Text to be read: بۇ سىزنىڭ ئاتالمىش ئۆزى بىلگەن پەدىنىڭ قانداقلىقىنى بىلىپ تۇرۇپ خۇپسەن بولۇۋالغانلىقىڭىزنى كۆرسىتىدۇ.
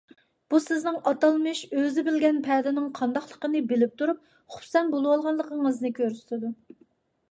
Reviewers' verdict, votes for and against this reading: accepted, 2, 0